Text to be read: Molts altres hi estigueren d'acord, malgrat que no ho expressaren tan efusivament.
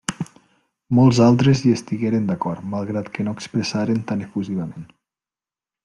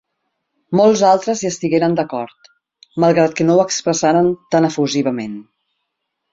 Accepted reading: second